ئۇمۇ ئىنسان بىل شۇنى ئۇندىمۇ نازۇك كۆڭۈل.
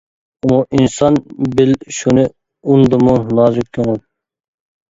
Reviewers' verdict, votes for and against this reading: rejected, 1, 2